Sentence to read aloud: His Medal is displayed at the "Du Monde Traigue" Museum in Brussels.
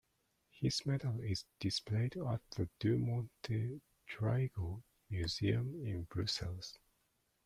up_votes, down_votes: 0, 2